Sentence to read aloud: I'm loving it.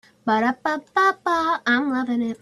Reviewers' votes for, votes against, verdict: 0, 2, rejected